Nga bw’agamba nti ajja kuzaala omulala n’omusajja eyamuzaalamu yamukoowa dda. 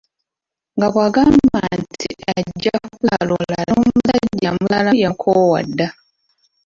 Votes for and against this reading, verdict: 0, 2, rejected